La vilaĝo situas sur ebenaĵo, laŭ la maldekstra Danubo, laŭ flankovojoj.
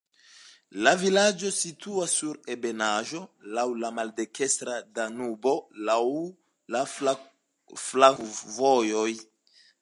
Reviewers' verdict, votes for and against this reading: rejected, 0, 2